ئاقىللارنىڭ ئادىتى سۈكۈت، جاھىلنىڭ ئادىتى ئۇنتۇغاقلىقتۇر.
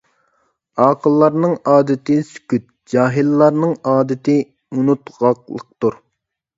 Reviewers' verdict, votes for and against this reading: rejected, 1, 2